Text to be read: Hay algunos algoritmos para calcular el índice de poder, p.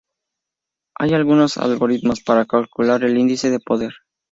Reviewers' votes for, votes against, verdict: 2, 0, accepted